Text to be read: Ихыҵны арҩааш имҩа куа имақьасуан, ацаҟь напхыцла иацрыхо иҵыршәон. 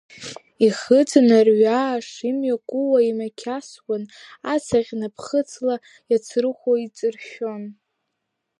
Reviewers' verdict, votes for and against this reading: rejected, 0, 2